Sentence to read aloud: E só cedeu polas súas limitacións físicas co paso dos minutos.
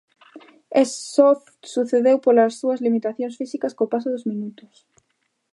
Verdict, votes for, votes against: rejected, 0, 2